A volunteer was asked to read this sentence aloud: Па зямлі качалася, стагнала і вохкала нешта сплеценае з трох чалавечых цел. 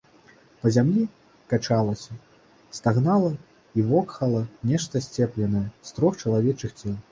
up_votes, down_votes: 0, 2